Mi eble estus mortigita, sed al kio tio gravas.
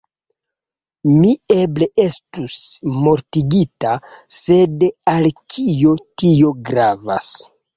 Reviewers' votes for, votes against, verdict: 0, 2, rejected